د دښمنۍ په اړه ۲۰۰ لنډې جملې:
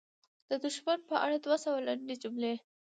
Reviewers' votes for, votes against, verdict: 0, 2, rejected